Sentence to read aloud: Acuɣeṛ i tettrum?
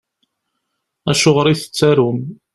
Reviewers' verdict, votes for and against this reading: rejected, 1, 2